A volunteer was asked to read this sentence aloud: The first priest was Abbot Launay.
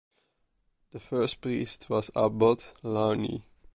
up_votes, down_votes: 2, 0